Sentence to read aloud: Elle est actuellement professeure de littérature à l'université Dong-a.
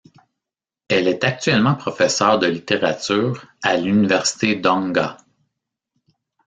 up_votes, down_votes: 2, 0